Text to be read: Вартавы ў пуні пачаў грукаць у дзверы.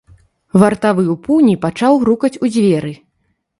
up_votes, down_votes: 2, 0